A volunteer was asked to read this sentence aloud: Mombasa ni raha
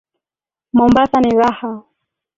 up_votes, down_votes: 3, 1